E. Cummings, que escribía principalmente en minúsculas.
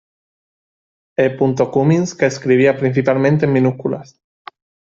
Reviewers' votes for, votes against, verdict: 1, 2, rejected